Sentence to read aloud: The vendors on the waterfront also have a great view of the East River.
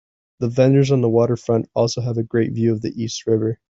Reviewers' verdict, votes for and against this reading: accepted, 2, 0